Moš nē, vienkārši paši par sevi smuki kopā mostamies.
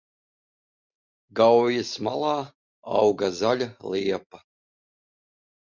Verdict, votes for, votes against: rejected, 0, 2